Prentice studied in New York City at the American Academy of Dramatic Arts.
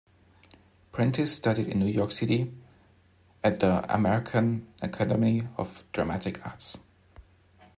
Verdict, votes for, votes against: accepted, 2, 0